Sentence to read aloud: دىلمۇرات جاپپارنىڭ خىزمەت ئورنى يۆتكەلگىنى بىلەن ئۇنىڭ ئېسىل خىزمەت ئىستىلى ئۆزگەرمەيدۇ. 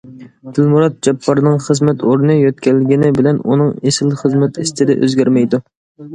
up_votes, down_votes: 2, 0